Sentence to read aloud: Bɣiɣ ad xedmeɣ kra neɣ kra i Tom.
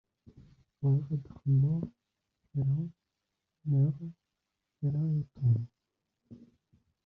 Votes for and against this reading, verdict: 0, 2, rejected